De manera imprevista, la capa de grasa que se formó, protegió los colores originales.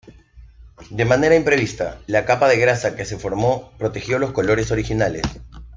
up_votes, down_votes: 2, 0